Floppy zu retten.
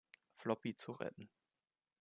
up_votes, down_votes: 2, 0